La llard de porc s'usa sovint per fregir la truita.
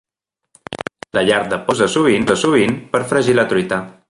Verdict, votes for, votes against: rejected, 0, 2